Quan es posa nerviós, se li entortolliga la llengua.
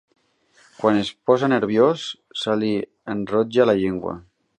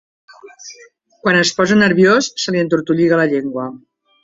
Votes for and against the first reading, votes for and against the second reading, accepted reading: 0, 2, 4, 0, second